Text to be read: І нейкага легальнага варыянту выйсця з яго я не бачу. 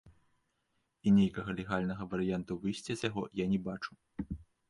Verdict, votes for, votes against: accepted, 2, 0